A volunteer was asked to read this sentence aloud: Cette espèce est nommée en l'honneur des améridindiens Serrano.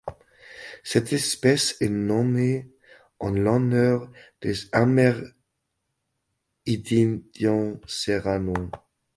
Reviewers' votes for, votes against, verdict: 0, 2, rejected